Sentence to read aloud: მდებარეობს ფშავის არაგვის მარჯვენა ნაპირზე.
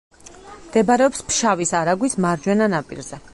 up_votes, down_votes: 2, 4